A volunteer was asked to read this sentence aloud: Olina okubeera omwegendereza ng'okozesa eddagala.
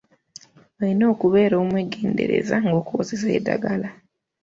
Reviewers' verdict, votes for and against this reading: rejected, 1, 2